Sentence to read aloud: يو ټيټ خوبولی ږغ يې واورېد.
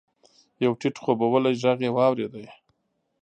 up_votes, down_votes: 1, 2